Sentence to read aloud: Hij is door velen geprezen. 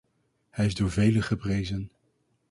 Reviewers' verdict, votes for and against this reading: rejected, 2, 2